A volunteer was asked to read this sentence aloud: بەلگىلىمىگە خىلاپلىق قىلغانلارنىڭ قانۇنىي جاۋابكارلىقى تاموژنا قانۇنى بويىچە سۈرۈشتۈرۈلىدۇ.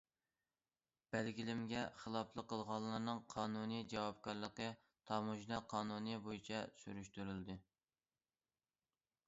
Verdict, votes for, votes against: rejected, 1, 2